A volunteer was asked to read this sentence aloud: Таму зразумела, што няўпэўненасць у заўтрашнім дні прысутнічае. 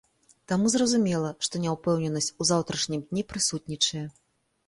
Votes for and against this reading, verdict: 3, 0, accepted